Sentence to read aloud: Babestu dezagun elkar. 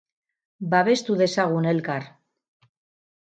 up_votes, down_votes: 2, 2